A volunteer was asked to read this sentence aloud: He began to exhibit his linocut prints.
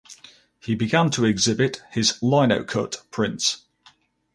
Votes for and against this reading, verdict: 4, 0, accepted